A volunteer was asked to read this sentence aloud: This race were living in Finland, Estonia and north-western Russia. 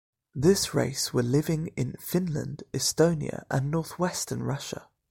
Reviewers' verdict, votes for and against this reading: accepted, 2, 0